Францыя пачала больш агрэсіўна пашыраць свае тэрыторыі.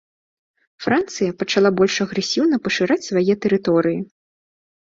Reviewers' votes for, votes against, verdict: 2, 0, accepted